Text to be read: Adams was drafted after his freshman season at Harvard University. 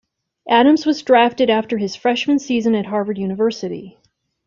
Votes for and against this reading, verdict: 2, 0, accepted